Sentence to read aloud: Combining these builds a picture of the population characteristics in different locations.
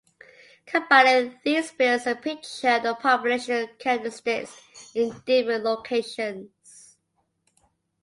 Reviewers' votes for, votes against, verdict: 1, 2, rejected